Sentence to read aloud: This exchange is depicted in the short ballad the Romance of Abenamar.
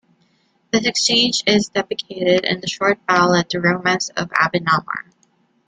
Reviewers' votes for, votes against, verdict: 1, 2, rejected